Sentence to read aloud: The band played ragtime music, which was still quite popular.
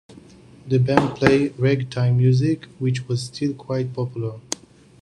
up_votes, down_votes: 2, 0